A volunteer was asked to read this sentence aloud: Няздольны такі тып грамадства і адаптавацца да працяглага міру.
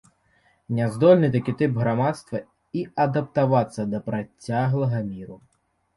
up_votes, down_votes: 2, 1